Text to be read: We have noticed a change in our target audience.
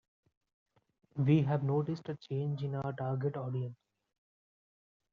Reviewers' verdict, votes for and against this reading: accepted, 2, 0